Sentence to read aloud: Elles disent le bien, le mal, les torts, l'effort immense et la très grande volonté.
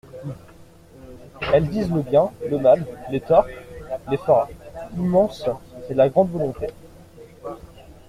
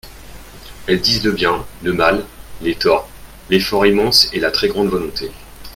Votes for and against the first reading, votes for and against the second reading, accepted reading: 0, 2, 2, 0, second